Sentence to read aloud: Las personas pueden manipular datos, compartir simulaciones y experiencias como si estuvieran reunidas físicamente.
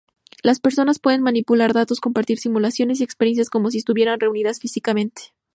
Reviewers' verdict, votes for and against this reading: accepted, 2, 0